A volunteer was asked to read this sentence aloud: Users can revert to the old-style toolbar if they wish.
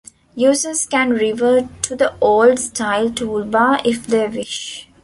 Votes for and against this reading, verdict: 2, 0, accepted